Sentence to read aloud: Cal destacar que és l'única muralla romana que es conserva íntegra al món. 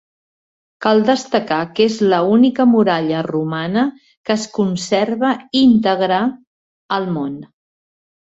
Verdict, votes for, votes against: rejected, 1, 2